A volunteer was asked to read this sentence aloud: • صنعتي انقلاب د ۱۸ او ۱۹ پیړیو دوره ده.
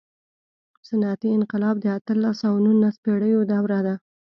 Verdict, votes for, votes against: rejected, 0, 2